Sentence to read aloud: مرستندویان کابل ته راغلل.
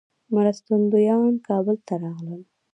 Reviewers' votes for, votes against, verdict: 0, 2, rejected